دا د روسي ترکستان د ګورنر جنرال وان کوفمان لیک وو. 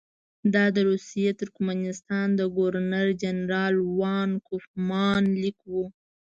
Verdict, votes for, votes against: rejected, 1, 2